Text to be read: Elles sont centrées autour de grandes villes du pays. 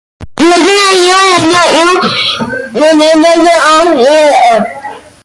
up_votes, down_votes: 0, 2